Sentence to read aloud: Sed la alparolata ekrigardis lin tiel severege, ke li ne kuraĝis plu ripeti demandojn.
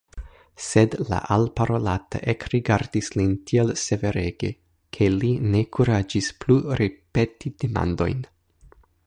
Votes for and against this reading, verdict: 0, 2, rejected